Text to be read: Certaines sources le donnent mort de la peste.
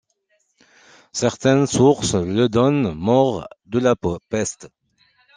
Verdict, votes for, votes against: rejected, 1, 2